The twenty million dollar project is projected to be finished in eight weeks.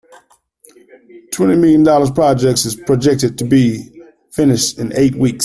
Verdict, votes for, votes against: rejected, 0, 2